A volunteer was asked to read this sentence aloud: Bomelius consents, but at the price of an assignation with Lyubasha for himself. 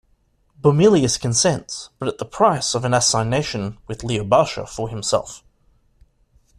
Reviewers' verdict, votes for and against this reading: accepted, 2, 0